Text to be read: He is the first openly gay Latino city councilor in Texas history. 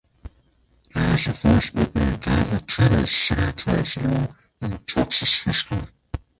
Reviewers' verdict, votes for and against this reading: rejected, 0, 2